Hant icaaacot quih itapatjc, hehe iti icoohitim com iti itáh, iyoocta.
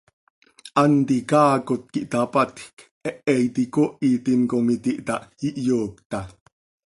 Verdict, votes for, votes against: accepted, 2, 0